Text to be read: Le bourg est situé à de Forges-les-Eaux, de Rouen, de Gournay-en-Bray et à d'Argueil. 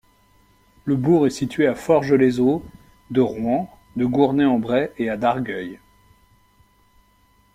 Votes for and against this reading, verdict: 0, 2, rejected